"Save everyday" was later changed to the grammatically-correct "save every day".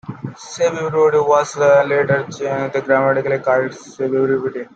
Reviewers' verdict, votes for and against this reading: rejected, 0, 2